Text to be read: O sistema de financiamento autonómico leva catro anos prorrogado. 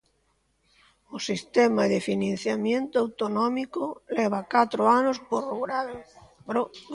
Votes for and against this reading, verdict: 0, 2, rejected